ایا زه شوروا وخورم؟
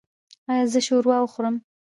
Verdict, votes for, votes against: rejected, 1, 2